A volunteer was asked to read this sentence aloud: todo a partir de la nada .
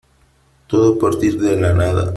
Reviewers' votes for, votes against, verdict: 2, 1, accepted